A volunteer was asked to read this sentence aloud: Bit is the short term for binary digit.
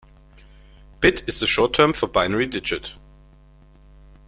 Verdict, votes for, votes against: accepted, 2, 1